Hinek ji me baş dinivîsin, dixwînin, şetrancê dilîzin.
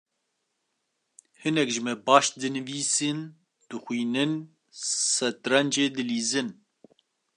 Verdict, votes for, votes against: rejected, 0, 2